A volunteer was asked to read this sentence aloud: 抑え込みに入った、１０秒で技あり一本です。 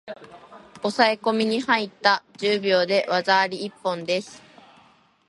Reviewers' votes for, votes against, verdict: 0, 2, rejected